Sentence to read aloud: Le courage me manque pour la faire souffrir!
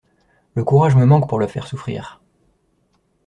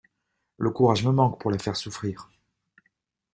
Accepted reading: second